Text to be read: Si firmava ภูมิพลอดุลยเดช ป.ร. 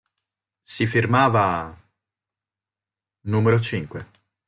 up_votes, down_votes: 0, 2